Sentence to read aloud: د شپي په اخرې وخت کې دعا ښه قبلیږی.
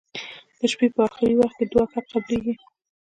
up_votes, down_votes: 0, 2